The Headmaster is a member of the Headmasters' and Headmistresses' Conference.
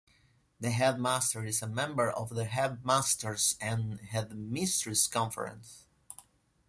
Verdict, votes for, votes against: rejected, 1, 2